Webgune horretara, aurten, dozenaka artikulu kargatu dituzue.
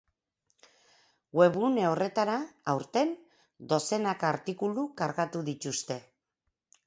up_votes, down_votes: 0, 6